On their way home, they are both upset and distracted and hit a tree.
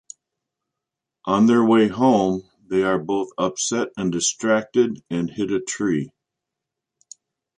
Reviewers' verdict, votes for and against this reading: accepted, 2, 0